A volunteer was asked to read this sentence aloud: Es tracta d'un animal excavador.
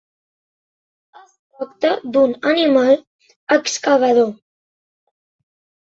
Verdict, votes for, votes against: rejected, 1, 2